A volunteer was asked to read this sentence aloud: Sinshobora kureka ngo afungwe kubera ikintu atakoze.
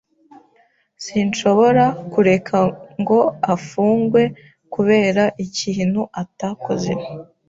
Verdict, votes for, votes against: accepted, 2, 0